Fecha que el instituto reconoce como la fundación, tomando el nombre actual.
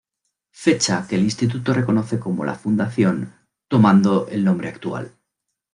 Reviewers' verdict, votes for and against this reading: accepted, 2, 0